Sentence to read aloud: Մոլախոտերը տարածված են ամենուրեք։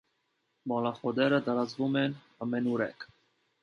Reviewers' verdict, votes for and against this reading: rejected, 0, 2